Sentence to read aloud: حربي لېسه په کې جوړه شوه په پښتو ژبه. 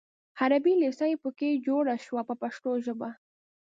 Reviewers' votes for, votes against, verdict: 0, 2, rejected